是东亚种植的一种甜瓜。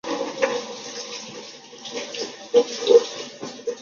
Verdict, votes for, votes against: rejected, 0, 2